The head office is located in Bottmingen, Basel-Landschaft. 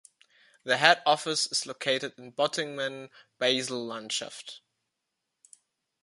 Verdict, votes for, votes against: rejected, 1, 2